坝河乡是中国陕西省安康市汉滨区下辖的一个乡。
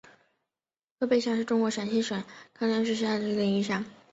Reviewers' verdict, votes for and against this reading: rejected, 1, 2